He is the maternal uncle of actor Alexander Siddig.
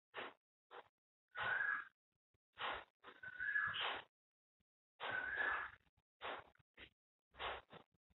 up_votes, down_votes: 0, 2